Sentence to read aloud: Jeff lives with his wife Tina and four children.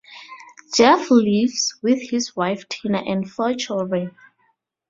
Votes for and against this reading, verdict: 2, 2, rejected